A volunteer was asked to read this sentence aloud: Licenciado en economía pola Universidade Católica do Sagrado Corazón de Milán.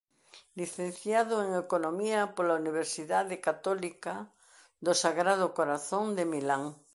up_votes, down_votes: 2, 0